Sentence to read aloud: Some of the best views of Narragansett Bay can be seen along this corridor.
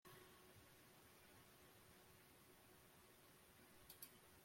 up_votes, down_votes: 1, 2